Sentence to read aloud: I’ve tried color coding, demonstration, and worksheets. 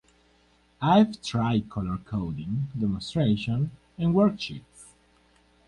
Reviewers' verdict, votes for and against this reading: accepted, 4, 0